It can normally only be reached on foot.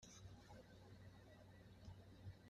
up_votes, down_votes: 0, 2